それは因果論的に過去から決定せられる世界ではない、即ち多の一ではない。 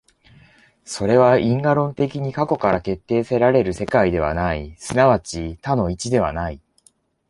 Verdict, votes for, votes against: accepted, 2, 0